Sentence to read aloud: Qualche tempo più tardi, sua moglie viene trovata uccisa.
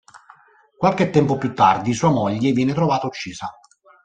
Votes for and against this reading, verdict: 2, 0, accepted